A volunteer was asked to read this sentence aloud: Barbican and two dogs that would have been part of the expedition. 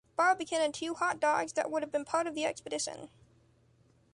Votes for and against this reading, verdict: 0, 2, rejected